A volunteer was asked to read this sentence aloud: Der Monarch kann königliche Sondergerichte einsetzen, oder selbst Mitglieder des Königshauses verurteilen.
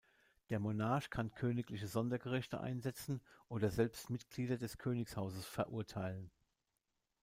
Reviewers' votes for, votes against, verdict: 0, 2, rejected